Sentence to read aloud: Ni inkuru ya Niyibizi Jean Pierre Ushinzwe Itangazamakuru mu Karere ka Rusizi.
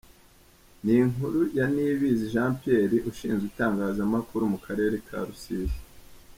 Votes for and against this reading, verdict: 2, 0, accepted